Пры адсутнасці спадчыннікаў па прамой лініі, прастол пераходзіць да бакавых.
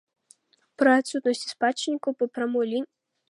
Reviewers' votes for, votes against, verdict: 0, 2, rejected